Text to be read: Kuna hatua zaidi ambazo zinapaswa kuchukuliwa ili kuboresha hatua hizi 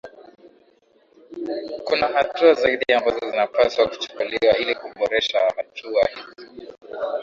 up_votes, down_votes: 1, 2